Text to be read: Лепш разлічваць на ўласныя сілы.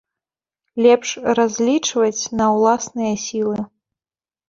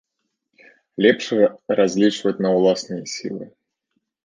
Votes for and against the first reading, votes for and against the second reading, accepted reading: 2, 0, 0, 2, first